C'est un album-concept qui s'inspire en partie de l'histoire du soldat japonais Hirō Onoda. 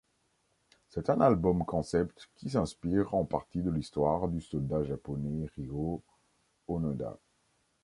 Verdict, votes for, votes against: accepted, 2, 1